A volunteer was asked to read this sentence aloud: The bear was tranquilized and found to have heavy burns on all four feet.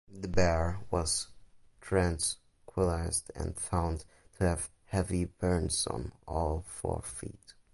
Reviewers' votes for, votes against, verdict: 0, 2, rejected